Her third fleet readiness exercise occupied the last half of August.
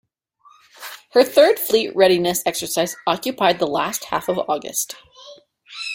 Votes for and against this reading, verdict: 2, 0, accepted